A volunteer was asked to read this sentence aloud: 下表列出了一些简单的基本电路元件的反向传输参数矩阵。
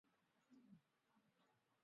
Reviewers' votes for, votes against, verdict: 0, 2, rejected